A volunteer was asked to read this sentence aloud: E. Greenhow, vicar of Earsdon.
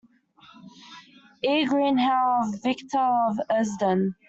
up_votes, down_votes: 1, 2